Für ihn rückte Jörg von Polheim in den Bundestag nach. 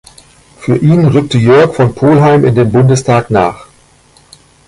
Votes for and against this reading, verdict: 2, 0, accepted